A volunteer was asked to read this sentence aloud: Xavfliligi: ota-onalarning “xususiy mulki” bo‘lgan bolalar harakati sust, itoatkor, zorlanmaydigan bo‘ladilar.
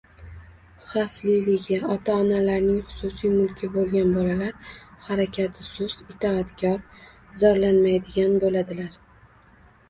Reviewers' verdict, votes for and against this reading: rejected, 1, 2